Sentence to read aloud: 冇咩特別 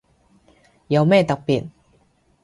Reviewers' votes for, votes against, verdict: 0, 2, rejected